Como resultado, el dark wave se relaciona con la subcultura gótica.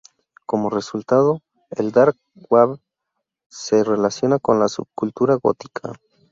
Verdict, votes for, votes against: rejected, 0, 2